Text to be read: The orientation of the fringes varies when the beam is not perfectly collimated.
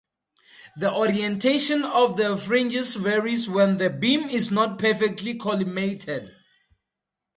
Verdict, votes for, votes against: accepted, 2, 0